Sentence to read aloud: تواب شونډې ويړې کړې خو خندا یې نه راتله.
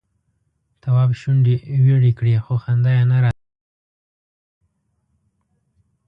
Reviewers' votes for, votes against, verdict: 0, 2, rejected